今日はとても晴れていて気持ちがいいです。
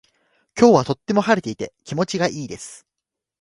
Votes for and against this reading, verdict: 2, 0, accepted